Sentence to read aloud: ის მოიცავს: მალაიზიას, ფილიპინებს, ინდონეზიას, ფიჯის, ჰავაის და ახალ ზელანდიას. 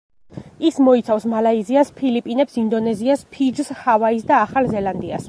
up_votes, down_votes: 1, 2